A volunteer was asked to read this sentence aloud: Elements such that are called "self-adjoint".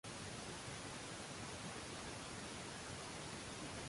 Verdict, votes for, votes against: rejected, 0, 2